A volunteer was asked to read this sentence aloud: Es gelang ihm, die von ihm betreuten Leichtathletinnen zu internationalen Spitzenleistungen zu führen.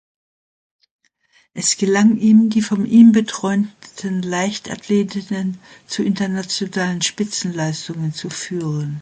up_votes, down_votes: 0, 2